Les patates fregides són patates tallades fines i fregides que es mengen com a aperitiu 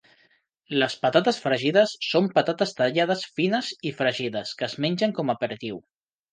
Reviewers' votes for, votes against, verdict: 1, 2, rejected